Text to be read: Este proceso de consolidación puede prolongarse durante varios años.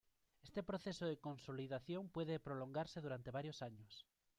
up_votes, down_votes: 1, 2